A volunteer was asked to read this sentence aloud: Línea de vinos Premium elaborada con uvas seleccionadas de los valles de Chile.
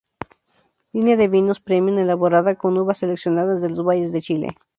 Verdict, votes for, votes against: rejected, 2, 2